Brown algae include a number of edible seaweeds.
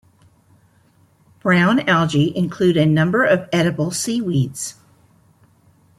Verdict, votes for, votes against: rejected, 0, 2